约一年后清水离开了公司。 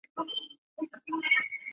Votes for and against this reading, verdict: 0, 2, rejected